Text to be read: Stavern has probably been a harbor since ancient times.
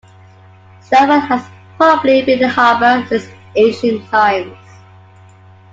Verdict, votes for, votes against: rejected, 1, 2